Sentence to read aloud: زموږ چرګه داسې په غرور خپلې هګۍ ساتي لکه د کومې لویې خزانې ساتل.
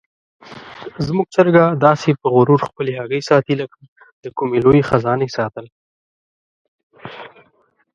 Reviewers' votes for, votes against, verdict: 2, 1, accepted